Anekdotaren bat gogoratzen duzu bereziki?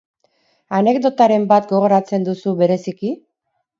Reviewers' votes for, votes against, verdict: 4, 0, accepted